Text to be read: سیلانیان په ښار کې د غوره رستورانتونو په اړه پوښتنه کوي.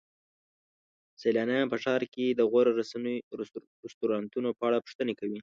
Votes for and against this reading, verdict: 0, 2, rejected